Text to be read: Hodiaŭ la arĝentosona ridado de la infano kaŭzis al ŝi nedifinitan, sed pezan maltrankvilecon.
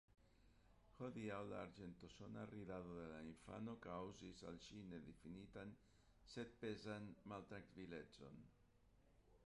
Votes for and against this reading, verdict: 0, 2, rejected